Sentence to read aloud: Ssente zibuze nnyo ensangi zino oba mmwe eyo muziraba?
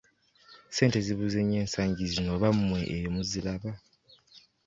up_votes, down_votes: 3, 0